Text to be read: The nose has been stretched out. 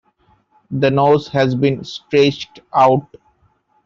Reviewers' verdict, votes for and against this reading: accepted, 2, 0